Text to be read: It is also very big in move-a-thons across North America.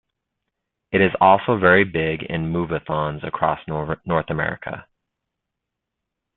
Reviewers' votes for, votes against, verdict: 0, 2, rejected